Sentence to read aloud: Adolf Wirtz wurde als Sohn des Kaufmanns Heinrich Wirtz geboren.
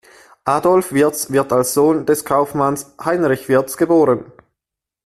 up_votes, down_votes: 1, 2